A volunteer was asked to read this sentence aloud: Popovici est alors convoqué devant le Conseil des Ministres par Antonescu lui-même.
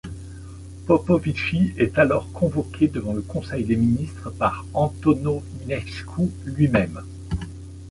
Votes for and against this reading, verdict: 2, 3, rejected